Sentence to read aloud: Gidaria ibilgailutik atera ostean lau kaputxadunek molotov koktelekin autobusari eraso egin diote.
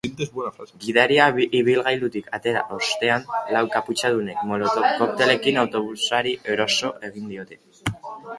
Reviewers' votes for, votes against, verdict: 0, 2, rejected